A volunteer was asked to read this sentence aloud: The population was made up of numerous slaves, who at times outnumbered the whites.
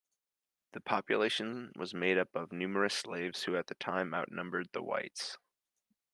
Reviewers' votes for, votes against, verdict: 2, 0, accepted